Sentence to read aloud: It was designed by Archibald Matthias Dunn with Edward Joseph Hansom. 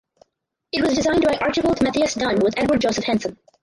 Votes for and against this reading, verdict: 0, 2, rejected